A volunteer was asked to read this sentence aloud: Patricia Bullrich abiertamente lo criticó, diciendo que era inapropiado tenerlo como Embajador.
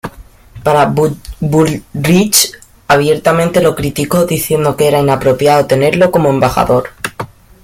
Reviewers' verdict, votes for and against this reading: rejected, 1, 2